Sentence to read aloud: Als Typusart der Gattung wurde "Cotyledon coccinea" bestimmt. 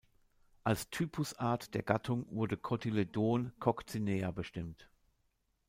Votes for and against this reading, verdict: 0, 2, rejected